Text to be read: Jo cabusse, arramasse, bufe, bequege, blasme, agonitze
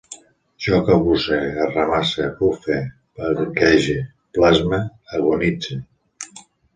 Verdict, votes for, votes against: accepted, 2, 1